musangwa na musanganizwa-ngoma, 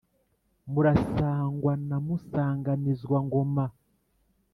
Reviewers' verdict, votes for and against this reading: rejected, 1, 2